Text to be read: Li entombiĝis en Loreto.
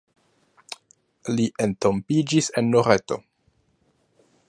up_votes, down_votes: 2, 1